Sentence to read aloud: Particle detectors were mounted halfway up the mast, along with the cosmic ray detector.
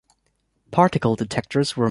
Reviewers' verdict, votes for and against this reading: rejected, 1, 2